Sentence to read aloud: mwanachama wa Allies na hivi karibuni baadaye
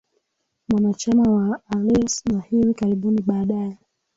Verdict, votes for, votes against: rejected, 0, 2